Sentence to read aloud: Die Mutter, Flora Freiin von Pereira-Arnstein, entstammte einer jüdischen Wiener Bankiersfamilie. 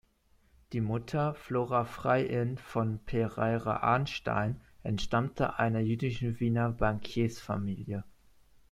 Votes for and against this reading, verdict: 2, 0, accepted